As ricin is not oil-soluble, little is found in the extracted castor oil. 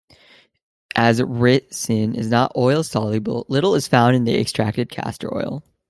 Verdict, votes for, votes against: rejected, 1, 2